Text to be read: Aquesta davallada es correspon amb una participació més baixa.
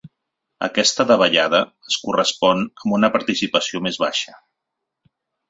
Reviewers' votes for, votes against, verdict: 3, 0, accepted